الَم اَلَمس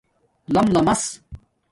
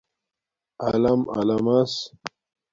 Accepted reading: second